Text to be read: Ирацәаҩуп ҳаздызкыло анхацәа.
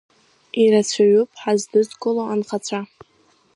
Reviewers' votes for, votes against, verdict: 2, 0, accepted